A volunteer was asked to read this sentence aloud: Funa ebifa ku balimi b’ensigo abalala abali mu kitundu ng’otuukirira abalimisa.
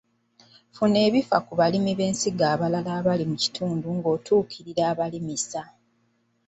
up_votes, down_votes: 2, 1